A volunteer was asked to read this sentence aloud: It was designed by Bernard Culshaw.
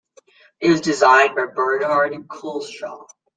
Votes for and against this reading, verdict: 2, 0, accepted